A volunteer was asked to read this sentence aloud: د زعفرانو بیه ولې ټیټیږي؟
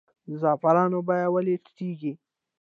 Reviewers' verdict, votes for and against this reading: rejected, 1, 3